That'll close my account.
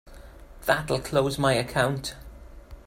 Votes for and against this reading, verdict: 2, 0, accepted